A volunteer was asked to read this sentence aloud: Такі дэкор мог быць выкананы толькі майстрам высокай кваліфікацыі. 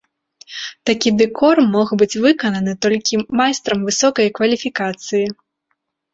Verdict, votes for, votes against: accepted, 2, 0